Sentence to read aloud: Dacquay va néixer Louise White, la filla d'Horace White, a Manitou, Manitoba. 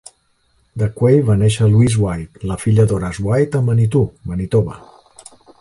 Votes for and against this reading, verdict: 4, 0, accepted